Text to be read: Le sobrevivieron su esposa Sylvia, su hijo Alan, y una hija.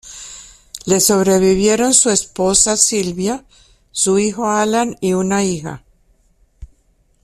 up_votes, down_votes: 2, 0